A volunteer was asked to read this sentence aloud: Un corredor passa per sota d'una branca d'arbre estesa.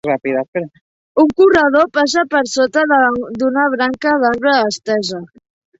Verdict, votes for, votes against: rejected, 0, 2